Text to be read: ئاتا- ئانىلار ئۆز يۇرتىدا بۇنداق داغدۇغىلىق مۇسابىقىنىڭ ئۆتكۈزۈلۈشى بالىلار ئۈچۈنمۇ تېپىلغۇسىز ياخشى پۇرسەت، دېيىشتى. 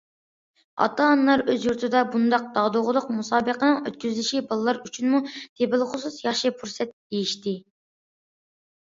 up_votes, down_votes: 2, 0